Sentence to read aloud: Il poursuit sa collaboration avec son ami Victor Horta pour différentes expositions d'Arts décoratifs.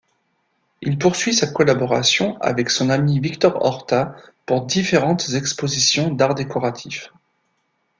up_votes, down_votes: 2, 0